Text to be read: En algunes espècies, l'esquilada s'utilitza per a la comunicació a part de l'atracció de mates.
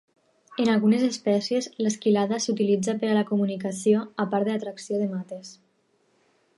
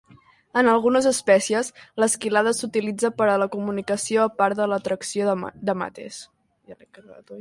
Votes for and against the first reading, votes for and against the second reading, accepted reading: 4, 0, 0, 2, first